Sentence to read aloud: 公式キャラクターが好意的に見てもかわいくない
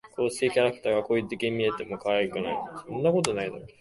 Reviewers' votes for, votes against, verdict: 1, 2, rejected